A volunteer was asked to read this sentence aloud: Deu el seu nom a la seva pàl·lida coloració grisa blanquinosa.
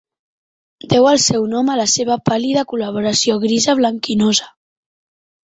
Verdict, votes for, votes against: rejected, 0, 2